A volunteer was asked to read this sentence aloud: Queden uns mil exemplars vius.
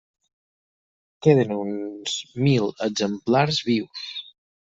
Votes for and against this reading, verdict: 6, 2, accepted